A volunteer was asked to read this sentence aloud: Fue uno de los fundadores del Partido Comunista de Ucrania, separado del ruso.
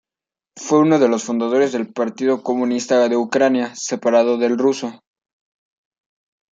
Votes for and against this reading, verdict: 1, 2, rejected